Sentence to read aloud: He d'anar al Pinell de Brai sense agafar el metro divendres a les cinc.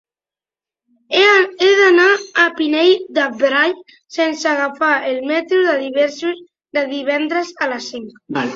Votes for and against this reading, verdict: 0, 2, rejected